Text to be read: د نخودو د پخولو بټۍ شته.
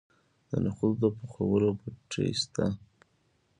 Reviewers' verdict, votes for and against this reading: accepted, 2, 0